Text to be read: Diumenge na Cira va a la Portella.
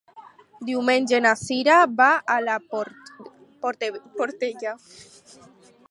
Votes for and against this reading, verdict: 2, 4, rejected